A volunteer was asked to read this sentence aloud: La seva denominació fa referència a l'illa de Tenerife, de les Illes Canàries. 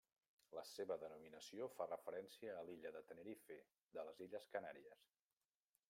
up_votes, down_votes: 0, 2